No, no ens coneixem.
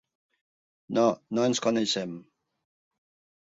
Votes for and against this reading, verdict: 3, 0, accepted